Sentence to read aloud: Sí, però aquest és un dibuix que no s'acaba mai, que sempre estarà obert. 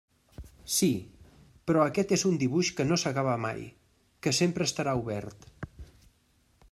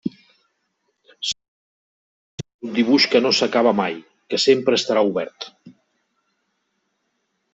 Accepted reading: first